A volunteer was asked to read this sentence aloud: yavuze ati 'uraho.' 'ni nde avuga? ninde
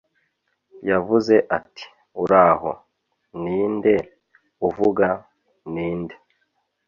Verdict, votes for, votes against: rejected, 0, 2